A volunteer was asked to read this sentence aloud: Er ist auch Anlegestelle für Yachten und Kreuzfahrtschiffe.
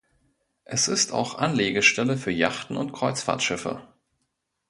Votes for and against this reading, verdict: 0, 2, rejected